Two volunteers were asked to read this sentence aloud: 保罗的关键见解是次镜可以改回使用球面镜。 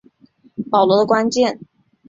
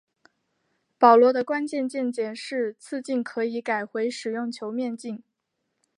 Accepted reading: second